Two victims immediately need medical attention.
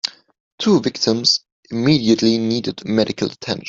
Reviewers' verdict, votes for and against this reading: rejected, 0, 2